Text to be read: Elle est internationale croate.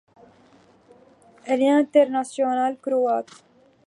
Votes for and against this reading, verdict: 2, 0, accepted